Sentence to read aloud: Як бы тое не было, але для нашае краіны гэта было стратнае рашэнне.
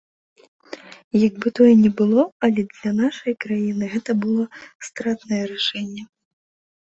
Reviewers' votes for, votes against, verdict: 2, 0, accepted